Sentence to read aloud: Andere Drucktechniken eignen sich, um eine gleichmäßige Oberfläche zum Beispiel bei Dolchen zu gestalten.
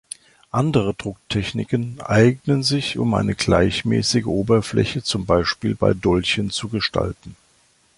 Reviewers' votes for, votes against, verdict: 2, 0, accepted